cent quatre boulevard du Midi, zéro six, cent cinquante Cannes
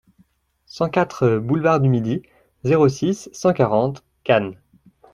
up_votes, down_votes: 0, 2